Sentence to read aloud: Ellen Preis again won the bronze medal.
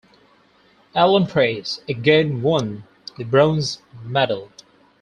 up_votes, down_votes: 4, 0